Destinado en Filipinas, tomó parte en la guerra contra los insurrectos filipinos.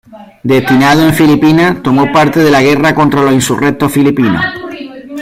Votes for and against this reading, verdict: 0, 2, rejected